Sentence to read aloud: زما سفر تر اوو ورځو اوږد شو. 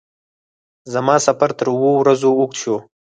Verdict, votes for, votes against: rejected, 0, 4